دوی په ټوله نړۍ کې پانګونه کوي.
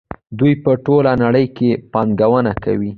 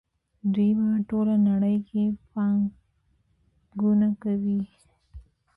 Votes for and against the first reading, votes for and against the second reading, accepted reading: 2, 0, 0, 2, first